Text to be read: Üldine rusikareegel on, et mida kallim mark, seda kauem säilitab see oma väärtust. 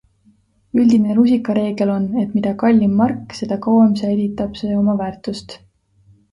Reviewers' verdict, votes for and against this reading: accepted, 2, 0